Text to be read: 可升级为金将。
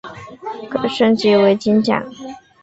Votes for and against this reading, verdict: 2, 0, accepted